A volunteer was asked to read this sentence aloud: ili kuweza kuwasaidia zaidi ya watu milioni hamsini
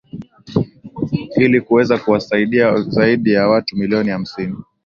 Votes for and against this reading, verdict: 5, 1, accepted